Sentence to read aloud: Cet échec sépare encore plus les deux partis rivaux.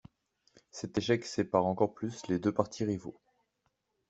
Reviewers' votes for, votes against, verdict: 2, 0, accepted